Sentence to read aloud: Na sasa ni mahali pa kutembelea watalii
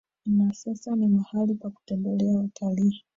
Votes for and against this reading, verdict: 1, 2, rejected